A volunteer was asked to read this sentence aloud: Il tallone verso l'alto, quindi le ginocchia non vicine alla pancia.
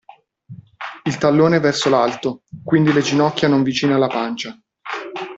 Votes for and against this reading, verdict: 0, 2, rejected